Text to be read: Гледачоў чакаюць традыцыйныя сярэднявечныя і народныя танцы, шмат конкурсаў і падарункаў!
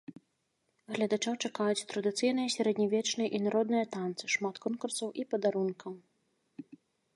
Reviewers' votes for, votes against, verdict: 2, 0, accepted